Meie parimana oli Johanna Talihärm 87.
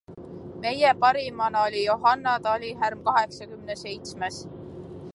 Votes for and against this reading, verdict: 0, 2, rejected